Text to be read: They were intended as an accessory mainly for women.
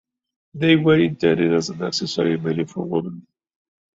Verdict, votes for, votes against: accepted, 2, 1